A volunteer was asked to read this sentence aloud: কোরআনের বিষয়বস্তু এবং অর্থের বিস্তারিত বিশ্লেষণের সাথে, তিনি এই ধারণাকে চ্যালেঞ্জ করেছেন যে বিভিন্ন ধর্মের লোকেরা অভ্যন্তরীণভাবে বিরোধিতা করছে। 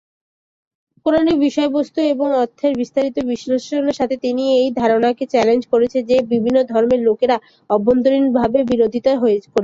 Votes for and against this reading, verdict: 3, 10, rejected